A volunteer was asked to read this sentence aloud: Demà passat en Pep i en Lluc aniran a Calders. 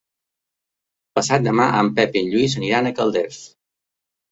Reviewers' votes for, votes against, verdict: 1, 2, rejected